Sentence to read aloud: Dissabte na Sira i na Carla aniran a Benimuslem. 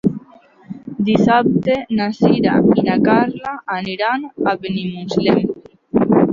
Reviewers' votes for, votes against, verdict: 1, 2, rejected